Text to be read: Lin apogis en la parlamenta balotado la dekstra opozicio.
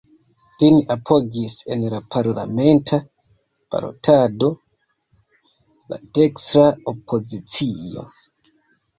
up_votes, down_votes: 2, 1